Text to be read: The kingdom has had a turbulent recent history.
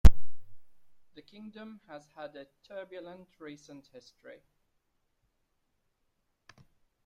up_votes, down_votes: 2, 0